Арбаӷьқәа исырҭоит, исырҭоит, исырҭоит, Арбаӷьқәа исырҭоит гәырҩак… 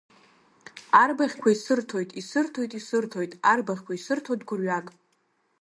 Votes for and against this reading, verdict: 2, 0, accepted